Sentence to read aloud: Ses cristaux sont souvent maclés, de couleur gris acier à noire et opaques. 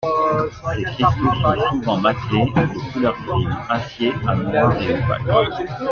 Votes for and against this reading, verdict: 2, 1, accepted